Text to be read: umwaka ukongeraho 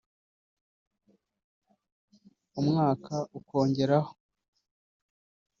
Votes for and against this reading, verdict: 0, 2, rejected